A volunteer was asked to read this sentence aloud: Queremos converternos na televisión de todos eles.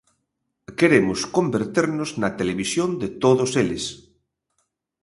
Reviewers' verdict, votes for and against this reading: accepted, 2, 0